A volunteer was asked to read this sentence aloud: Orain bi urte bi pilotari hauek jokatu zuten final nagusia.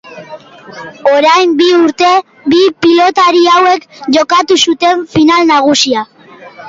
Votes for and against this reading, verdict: 2, 0, accepted